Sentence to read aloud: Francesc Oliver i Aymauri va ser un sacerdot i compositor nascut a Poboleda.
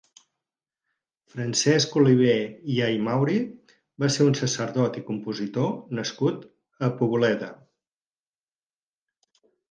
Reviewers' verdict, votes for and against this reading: accepted, 4, 0